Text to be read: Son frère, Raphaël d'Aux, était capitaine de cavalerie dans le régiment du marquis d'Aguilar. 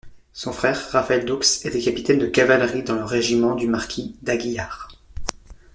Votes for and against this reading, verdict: 0, 2, rejected